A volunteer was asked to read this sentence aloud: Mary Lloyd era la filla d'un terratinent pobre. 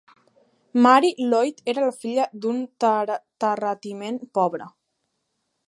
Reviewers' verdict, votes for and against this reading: rejected, 0, 3